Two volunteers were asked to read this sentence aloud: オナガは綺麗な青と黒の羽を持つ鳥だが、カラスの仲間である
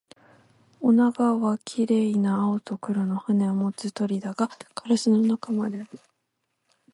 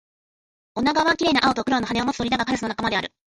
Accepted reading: second